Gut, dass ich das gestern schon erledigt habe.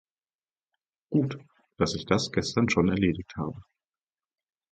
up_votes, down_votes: 4, 0